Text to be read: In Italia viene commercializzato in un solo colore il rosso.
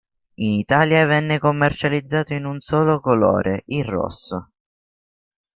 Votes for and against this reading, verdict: 1, 2, rejected